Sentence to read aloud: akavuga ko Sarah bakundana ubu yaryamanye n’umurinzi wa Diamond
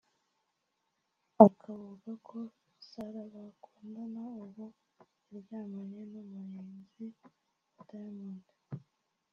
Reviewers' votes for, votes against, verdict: 0, 2, rejected